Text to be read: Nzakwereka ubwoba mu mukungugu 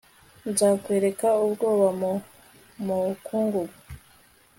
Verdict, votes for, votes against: accepted, 2, 0